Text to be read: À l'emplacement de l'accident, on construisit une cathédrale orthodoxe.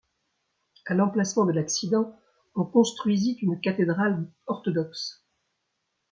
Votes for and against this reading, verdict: 2, 0, accepted